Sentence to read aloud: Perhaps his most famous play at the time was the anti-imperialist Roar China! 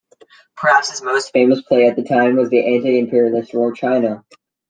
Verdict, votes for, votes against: accepted, 2, 0